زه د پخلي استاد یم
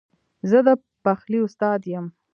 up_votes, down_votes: 1, 2